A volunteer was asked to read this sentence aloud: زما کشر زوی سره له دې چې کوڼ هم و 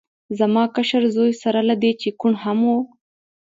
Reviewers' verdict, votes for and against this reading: accepted, 2, 0